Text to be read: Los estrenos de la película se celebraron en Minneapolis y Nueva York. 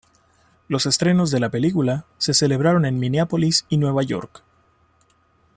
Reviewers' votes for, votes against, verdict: 3, 2, accepted